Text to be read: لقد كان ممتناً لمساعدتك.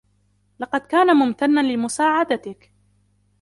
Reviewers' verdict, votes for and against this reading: accepted, 2, 0